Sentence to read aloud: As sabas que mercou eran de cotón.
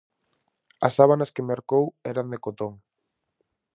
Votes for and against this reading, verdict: 0, 4, rejected